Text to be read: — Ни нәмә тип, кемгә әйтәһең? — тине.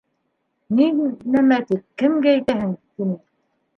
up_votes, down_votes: 1, 2